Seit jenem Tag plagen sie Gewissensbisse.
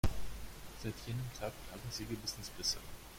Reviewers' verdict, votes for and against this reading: rejected, 1, 2